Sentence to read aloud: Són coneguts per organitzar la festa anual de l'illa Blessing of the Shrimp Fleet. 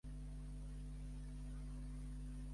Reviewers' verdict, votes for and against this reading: rejected, 0, 2